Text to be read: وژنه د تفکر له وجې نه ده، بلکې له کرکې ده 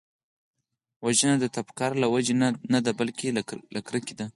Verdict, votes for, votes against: accepted, 4, 0